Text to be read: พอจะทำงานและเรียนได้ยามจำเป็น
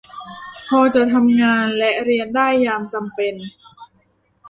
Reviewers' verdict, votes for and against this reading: rejected, 0, 2